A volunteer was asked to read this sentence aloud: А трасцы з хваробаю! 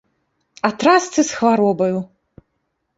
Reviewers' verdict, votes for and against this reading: accepted, 2, 0